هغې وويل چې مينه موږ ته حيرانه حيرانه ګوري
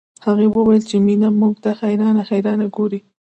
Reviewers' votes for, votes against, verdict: 1, 2, rejected